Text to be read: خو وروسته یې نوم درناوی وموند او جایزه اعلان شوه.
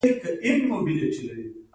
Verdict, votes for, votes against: rejected, 1, 2